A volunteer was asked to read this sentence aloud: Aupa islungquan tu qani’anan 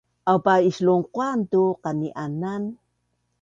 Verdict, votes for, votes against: accepted, 2, 0